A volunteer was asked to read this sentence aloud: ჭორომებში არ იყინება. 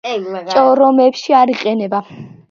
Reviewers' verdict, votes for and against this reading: accepted, 2, 1